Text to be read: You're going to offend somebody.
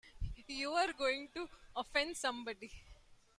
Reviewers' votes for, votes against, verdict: 1, 2, rejected